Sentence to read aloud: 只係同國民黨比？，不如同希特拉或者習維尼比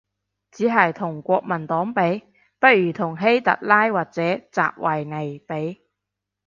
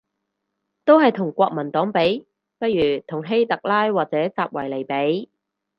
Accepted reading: first